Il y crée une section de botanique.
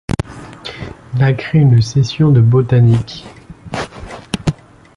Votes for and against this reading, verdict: 1, 2, rejected